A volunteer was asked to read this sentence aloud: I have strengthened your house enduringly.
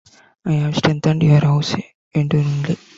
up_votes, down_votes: 1, 2